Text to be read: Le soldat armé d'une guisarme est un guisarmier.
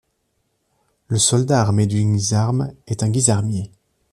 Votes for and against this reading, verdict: 2, 1, accepted